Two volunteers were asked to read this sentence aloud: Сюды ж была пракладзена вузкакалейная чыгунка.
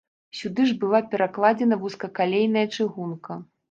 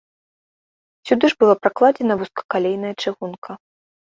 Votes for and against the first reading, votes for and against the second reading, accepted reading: 1, 2, 2, 0, second